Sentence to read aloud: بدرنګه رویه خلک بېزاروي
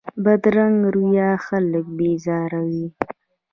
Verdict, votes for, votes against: accepted, 2, 0